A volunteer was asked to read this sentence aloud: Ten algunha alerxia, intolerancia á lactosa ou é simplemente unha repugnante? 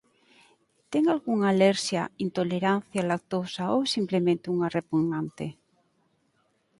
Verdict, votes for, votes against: accepted, 4, 0